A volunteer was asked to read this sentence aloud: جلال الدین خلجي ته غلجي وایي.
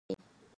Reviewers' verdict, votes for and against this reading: rejected, 0, 4